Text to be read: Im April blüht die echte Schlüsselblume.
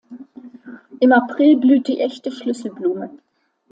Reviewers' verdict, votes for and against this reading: accepted, 2, 0